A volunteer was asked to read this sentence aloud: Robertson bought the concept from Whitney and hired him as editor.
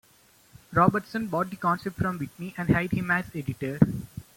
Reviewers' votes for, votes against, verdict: 1, 2, rejected